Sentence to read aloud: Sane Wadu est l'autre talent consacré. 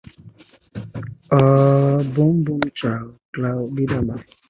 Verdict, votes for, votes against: rejected, 0, 2